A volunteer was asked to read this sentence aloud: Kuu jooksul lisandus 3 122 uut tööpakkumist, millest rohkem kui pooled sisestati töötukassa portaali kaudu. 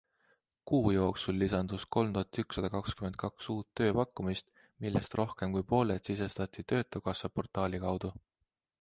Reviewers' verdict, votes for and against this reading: rejected, 0, 2